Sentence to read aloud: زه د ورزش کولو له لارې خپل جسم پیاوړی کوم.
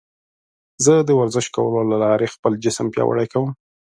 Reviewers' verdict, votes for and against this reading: accepted, 2, 0